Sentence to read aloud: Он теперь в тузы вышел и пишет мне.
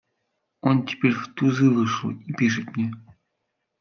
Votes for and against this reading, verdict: 2, 0, accepted